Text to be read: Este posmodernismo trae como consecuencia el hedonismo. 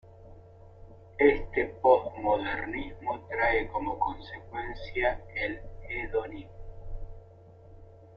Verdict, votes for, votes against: rejected, 0, 2